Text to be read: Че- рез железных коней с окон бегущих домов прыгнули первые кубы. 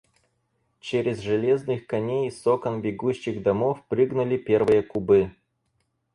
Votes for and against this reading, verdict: 2, 4, rejected